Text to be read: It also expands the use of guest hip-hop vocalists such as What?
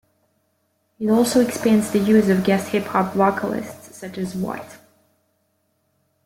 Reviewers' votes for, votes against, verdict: 2, 0, accepted